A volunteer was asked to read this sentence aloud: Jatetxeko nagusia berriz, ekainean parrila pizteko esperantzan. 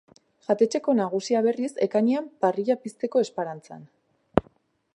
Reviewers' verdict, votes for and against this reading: rejected, 0, 3